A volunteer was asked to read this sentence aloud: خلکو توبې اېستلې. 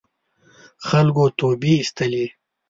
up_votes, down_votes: 2, 0